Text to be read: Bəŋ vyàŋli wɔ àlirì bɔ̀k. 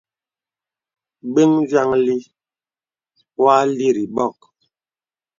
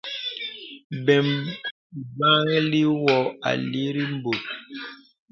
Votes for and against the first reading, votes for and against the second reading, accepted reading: 2, 0, 0, 2, first